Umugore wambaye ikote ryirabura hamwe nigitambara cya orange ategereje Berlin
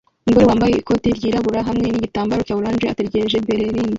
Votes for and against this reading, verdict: 0, 2, rejected